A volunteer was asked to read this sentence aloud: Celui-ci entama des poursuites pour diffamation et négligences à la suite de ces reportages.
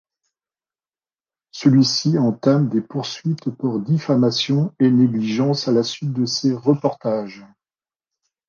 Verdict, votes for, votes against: rejected, 0, 2